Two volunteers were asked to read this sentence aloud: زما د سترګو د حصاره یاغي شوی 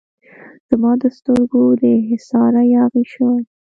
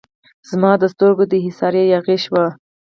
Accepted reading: first